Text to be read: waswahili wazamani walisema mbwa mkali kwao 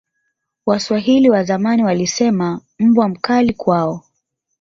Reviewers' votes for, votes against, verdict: 3, 1, accepted